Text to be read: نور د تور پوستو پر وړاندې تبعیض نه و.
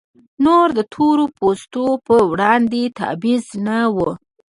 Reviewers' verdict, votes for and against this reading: accepted, 2, 0